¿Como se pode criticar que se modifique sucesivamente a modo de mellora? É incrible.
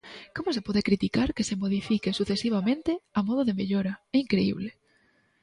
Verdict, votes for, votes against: rejected, 1, 2